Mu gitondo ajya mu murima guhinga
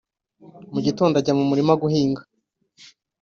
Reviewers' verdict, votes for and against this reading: accepted, 2, 0